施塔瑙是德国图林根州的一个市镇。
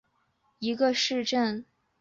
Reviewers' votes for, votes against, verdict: 2, 0, accepted